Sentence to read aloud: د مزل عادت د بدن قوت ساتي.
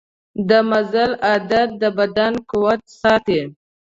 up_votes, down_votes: 2, 0